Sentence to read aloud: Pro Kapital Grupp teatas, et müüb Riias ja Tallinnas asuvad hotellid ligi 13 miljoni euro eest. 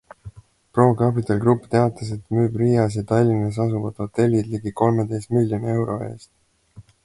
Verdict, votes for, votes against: rejected, 0, 2